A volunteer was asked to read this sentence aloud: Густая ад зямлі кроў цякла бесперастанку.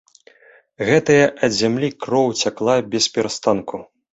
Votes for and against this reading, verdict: 0, 2, rejected